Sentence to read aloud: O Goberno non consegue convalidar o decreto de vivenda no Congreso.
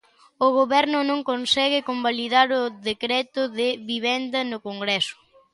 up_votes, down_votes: 2, 0